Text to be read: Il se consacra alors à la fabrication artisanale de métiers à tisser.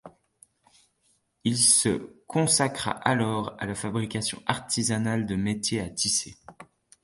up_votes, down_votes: 2, 0